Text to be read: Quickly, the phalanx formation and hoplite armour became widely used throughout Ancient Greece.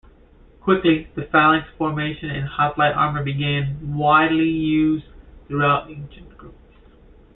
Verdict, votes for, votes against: rejected, 0, 2